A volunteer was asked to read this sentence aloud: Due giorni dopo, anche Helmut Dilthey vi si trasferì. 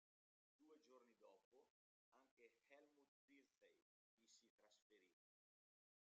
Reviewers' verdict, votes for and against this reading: rejected, 1, 2